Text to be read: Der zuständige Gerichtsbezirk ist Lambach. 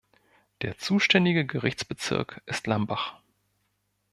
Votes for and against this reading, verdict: 2, 0, accepted